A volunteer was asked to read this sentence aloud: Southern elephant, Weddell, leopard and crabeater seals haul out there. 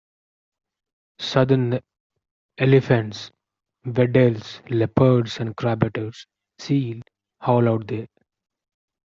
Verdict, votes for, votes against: rejected, 0, 2